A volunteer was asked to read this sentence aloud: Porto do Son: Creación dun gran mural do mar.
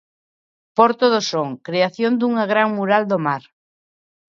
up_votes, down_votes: 0, 2